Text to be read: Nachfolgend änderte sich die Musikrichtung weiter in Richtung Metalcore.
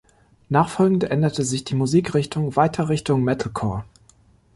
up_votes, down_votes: 1, 2